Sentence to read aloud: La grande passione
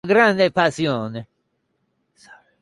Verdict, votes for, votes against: rejected, 0, 2